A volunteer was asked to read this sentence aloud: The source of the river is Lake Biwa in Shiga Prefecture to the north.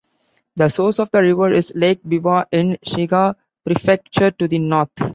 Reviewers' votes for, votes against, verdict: 2, 1, accepted